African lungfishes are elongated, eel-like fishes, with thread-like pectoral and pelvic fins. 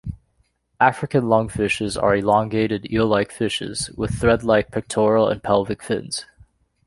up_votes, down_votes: 2, 0